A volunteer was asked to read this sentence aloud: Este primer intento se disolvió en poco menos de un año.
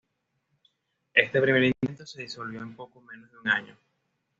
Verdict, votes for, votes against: accepted, 2, 0